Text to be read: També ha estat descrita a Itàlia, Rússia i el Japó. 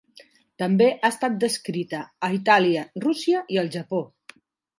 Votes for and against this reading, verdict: 3, 0, accepted